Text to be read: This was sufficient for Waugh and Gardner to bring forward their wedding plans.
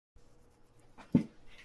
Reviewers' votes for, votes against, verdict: 0, 2, rejected